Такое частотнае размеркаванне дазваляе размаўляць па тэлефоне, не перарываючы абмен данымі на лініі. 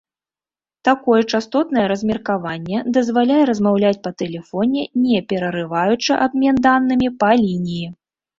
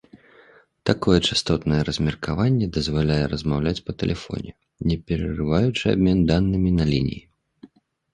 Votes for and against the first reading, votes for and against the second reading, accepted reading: 1, 3, 3, 2, second